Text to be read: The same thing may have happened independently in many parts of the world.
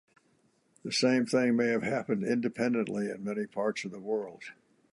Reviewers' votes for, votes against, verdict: 2, 0, accepted